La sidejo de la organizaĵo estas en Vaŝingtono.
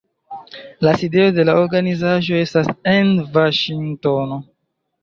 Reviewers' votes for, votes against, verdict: 2, 0, accepted